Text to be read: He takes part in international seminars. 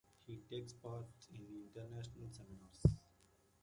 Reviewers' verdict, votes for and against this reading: accepted, 2, 0